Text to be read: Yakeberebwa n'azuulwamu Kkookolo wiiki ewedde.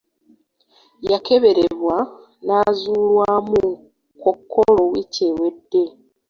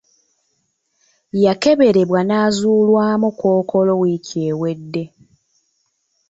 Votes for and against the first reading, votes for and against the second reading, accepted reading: 0, 2, 3, 0, second